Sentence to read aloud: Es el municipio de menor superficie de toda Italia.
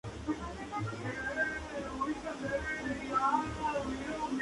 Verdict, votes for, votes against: rejected, 0, 2